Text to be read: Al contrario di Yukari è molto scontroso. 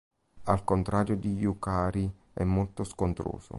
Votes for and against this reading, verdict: 2, 0, accepted